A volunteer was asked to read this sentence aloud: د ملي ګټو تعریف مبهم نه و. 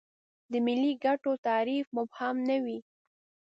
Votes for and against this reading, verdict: 2, 3, rejected